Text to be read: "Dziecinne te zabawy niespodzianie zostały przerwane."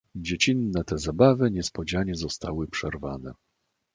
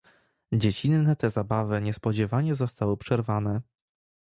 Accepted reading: second